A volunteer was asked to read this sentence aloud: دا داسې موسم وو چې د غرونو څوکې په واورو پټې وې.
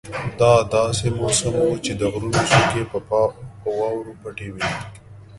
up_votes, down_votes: 1, 2